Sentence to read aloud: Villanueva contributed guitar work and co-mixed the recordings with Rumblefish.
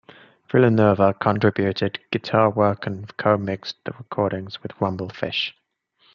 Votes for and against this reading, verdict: 2, 0, accepted